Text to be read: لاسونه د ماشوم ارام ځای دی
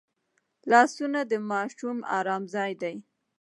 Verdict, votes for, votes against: rejected, 1, 2